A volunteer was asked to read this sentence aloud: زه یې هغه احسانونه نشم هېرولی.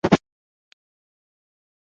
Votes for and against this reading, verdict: 1, 2, rejected